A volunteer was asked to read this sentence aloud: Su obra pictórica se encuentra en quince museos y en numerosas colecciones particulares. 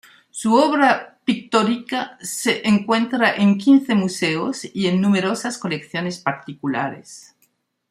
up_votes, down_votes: 1, 2